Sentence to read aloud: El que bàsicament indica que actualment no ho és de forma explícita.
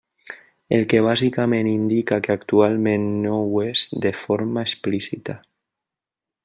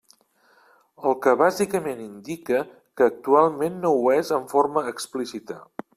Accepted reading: first